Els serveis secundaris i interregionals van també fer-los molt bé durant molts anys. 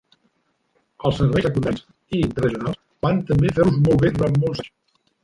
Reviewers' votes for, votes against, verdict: 0, 2, rejected